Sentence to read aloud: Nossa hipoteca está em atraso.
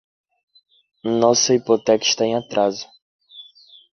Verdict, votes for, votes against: accepted, 2, 1